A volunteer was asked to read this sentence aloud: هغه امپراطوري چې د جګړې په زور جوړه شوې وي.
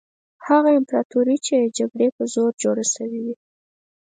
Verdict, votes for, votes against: accepted, 4, 0